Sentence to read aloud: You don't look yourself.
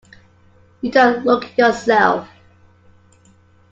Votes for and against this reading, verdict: 2, 0, accepted